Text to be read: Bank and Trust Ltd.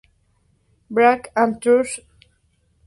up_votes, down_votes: 0, 2